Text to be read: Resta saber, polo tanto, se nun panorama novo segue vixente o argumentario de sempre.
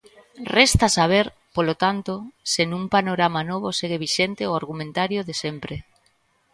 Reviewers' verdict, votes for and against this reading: accepted, 2, 0